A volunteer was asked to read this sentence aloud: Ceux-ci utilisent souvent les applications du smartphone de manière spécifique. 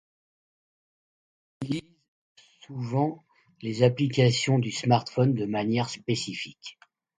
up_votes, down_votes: 1, 2